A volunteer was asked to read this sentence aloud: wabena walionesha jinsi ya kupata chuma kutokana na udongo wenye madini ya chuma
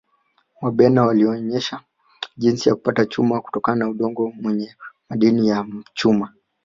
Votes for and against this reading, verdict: 2, 1, accepted